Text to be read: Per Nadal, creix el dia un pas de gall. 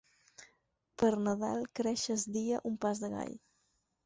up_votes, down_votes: 2, 4